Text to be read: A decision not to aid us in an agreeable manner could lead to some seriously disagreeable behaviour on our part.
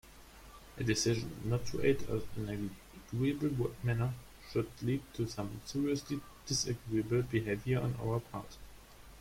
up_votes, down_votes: 0, 2